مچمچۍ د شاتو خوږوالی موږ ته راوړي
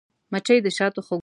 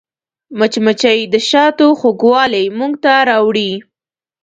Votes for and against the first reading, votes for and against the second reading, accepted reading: 1, 2, 2, 0, second